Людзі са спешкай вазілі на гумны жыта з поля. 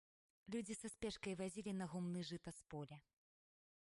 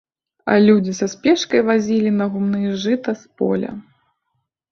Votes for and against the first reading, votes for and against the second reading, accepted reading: 2, 0, 1, 2, first